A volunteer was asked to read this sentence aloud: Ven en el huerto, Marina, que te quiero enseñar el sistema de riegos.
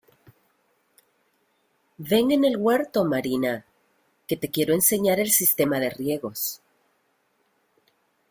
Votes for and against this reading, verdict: 2, 0, accepted